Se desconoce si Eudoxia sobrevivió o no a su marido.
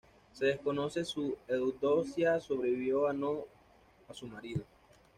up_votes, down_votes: 1, 2